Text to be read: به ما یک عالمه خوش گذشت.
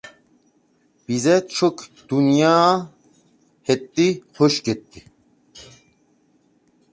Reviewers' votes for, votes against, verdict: 0, 2, rejected